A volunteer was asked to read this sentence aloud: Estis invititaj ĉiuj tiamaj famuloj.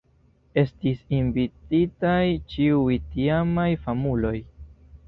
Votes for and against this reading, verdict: 2, 1, accepted